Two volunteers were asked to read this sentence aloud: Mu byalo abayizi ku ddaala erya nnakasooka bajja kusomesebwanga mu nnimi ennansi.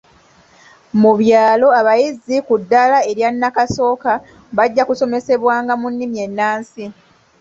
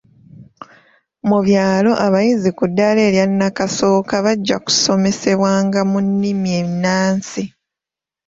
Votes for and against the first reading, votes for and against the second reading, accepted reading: 1, 2, 2, 1, second